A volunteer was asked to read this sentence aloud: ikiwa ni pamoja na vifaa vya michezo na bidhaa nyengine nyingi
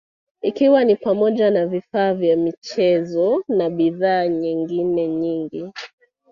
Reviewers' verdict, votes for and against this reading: accepted, 2, 1